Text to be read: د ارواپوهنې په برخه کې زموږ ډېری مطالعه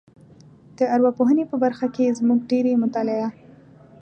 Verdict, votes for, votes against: rejected, 1, 2